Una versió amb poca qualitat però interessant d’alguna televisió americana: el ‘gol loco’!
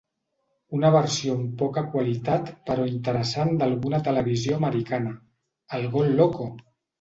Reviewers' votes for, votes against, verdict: 3, 0, accepted